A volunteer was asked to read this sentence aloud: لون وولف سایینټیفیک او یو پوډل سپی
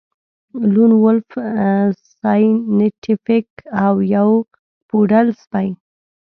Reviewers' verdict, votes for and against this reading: rejected, 1, 2